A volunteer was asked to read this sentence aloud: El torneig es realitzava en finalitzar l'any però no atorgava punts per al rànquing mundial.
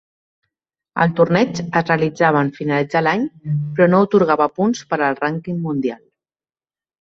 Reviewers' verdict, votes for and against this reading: accepted, 2, 0